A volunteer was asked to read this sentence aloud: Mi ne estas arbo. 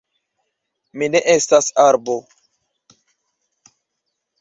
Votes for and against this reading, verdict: 2, 0, accepted